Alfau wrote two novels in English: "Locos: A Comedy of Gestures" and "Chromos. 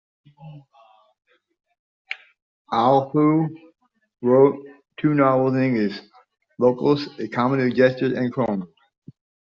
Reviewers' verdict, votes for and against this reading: rejected, 0, 2